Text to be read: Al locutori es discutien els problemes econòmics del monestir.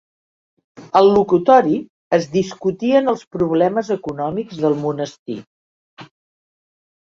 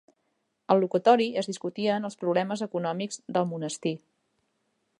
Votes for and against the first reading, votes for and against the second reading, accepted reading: 2, 0, 1, 2, first